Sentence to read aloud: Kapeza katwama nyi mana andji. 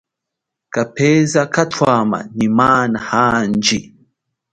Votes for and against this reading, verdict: 2, 1, accepted